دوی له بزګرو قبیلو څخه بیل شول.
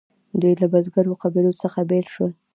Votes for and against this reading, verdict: 2, 0, accepted